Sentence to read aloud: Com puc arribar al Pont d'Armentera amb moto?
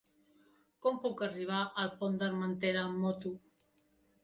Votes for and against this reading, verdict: 3, 0, accepted